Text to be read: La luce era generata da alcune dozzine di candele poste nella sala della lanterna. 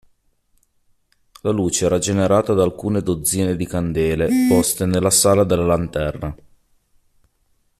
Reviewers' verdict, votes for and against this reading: accepted, 2, 1